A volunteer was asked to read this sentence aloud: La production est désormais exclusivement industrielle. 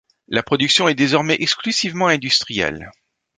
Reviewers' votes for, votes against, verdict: 2, 0, accepted